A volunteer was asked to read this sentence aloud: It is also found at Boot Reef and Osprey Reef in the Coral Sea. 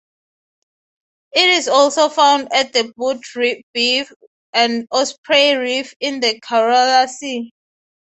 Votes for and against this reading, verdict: 0, 3, rejected